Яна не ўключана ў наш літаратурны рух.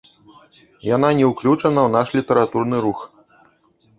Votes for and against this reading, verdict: 1, 2, rejected